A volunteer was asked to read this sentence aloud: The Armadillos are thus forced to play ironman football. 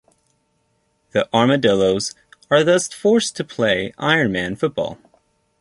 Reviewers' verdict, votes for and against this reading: accepted, 2, 0